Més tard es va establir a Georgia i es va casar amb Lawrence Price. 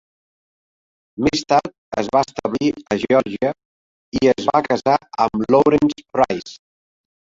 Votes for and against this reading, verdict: 1, 2, rejected